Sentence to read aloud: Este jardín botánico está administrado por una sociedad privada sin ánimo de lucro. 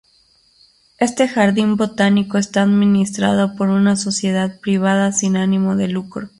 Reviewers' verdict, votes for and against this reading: accepted, 2, 0